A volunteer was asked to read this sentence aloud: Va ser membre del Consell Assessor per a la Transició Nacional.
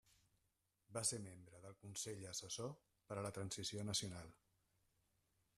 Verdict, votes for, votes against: rejected, 1, 2